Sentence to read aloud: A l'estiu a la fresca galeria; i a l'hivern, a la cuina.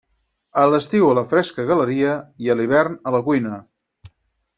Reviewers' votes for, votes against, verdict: 4, 0, accepted